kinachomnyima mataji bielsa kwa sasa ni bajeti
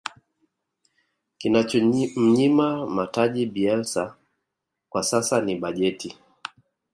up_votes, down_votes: 2, 0